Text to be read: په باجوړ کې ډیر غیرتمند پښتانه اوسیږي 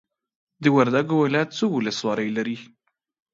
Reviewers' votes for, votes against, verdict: 0, 2, rejected